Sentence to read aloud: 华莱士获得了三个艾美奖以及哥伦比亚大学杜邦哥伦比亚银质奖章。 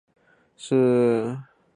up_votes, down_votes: 0, 2